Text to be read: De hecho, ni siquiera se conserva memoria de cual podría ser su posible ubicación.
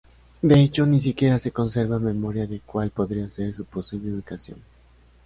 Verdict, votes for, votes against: accepted, 3, 0